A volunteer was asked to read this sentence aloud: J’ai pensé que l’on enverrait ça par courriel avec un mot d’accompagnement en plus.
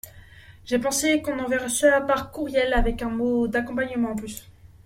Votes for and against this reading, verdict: 1, 2, rejected